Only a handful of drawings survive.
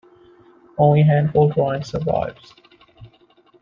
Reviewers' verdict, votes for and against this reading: rejected, 1, 2